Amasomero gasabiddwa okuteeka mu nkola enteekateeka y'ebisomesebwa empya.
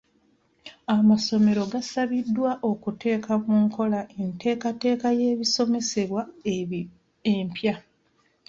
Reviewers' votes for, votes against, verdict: 0, 2, rejected